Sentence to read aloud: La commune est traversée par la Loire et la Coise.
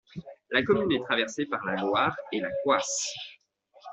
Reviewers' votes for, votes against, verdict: 0, 2, rejected